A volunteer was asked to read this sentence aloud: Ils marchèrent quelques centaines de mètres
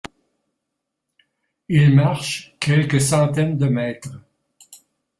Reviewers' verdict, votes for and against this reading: rejected, 0, 2